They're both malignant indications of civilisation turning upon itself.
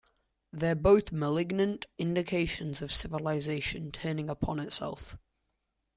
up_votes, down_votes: 2, 0